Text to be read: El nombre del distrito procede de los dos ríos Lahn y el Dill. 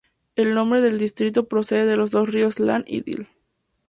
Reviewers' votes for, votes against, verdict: 2, 0, accepted